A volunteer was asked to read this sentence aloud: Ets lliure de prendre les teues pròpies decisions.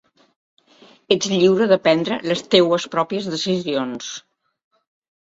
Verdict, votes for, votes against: accepted, 2, 0